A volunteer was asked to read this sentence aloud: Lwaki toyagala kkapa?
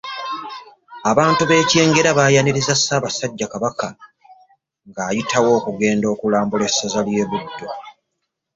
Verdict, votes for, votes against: rejected, 0, 2